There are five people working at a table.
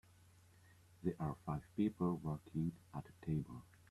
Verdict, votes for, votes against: accepted, 2, 0